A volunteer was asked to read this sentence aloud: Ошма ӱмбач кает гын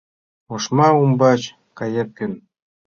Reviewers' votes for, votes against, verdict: 1, 2, rejected